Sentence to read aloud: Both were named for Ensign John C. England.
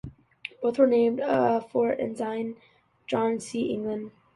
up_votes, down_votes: 0, 2